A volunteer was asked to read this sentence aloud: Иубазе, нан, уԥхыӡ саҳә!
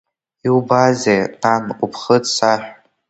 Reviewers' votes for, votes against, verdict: 2, 1, accepted